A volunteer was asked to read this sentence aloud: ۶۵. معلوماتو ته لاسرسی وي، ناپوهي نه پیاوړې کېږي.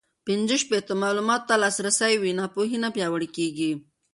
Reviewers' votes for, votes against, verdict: 0, 2, rejected